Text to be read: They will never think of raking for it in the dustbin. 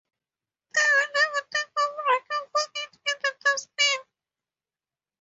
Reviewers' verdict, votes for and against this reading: rejected, 0, 2